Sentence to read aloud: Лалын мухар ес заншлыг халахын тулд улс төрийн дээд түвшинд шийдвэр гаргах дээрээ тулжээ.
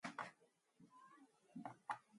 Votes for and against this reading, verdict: 2, 4, rejected